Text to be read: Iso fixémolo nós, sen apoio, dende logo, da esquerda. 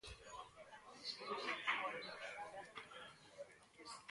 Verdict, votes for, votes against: rejected, 0, 2